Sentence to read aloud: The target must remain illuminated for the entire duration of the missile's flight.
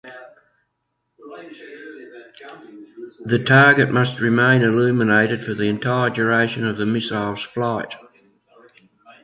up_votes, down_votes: 2, 0